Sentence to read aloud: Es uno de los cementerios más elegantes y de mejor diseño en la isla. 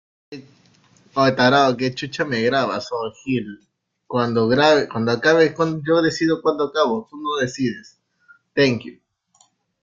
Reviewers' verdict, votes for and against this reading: rejected, 0, 2